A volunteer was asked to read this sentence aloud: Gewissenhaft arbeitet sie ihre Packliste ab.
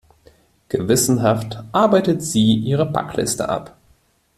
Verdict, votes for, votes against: accepted, 2, 0